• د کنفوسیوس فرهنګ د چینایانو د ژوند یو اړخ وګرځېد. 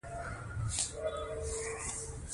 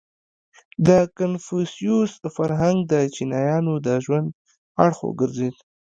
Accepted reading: second